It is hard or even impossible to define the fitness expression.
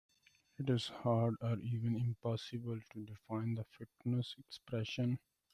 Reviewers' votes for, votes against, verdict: 0, 2, rejected